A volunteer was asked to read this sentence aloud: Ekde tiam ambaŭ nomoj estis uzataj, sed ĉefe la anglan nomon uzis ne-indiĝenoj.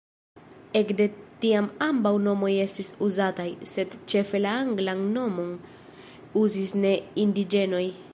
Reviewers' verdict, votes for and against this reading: rejected, 1, 2